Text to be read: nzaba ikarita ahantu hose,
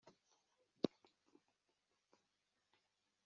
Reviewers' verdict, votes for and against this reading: rejected, 0, 2